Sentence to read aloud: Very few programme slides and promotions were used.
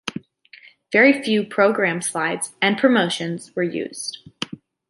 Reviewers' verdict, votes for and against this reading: accepted, 2, 0